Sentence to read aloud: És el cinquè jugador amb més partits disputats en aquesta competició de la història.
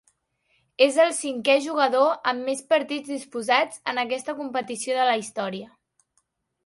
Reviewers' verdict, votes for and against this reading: rejected, 0, 2